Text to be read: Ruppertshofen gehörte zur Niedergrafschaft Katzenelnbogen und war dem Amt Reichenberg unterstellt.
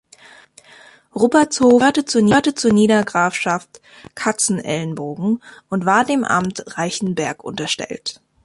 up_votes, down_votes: 0, 2